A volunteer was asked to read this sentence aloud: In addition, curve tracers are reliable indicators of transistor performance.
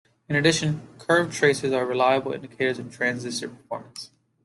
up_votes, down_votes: 1, 2